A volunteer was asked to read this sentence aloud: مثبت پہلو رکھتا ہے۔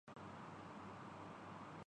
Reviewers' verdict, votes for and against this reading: rejected, 0, 2